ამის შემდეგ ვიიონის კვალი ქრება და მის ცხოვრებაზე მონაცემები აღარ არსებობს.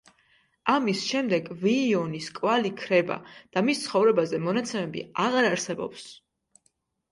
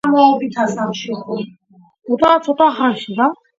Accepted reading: first